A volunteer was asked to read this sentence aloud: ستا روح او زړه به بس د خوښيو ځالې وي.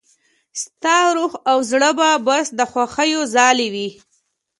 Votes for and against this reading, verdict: 2, 0, accepted